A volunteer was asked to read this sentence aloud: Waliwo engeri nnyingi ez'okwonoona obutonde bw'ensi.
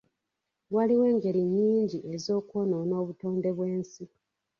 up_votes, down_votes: 2, 1